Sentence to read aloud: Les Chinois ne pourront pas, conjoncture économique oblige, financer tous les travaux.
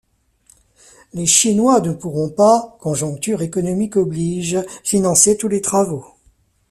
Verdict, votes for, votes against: accepted, 4, 0